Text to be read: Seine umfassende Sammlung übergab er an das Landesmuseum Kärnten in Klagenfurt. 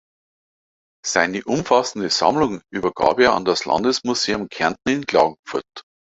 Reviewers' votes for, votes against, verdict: 2, 0, accepted